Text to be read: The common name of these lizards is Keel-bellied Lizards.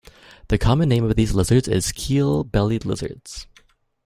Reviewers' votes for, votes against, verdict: 2, 0, accepted